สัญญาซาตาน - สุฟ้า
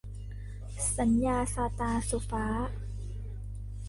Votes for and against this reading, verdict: 2, 0, accepted